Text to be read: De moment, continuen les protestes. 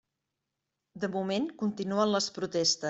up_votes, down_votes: 0, 2